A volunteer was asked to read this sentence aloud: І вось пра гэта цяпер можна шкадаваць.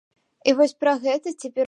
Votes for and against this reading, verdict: 0, 2, rejected